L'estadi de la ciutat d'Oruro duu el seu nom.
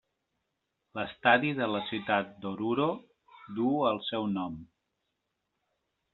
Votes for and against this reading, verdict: 3, 0, accepted